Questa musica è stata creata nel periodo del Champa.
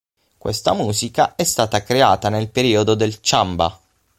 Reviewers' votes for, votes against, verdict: 3, 6, rejected